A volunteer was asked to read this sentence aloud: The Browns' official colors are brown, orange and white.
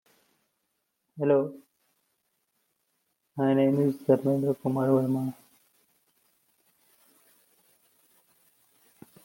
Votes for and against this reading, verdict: 0, 2, rejected